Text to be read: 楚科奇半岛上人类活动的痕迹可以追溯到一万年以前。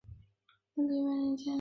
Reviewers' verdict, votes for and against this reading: rejected, 2, 3